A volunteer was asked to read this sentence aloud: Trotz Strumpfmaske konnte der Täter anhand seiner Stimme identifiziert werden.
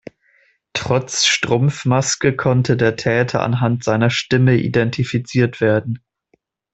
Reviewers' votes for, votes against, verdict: 2, 0, accepted